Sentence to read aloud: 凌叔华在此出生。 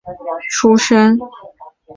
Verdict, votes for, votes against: rejected, 1, 6